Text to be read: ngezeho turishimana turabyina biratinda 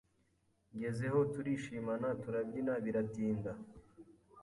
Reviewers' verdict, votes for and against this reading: accepted, 2, 0